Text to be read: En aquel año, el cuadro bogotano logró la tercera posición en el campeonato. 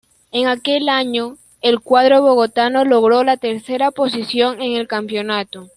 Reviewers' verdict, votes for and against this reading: accepted, 2, 0